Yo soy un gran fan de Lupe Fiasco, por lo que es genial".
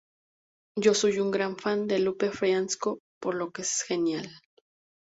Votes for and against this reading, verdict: 2, 0, accepted